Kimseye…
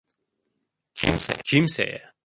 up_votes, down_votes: 0, 2